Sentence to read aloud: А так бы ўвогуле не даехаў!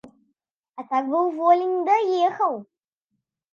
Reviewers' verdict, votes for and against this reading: rejected, 0, 2